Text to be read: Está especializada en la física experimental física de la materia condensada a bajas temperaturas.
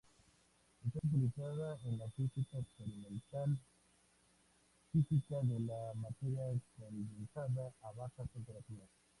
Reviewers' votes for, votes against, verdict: 0, 2, rejected